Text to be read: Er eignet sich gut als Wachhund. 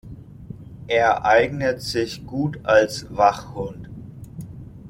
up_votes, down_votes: 2, 0